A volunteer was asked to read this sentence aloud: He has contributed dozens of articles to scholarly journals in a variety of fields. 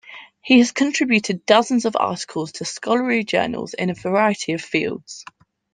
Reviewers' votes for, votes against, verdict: 2, 1, accepted